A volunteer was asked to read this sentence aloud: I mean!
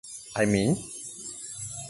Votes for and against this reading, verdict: 4, 0, accepted